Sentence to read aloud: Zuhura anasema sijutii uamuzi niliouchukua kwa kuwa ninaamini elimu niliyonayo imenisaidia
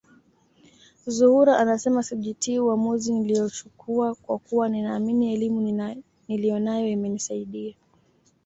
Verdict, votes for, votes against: accepted, 2, 0